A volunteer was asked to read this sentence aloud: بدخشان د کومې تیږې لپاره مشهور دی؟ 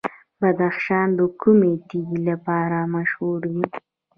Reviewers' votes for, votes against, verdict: 2, 1, accepted